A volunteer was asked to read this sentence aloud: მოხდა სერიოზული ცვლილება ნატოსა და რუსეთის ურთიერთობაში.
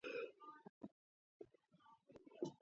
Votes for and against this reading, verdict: 0, 3, rejected